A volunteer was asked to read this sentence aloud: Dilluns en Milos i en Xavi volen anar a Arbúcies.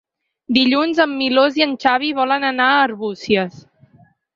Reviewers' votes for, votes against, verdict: 6, 0, accepted